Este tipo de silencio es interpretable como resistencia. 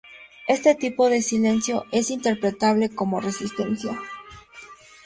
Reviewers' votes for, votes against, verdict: 2, 0, accepted